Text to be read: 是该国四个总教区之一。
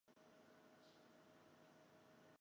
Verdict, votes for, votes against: rejected, 0, 2